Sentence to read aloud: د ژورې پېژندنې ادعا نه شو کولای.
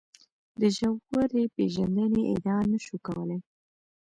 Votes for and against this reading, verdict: 1, 2, rejected